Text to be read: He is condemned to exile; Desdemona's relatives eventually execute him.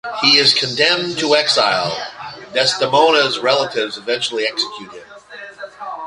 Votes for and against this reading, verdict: 1, 2, rejected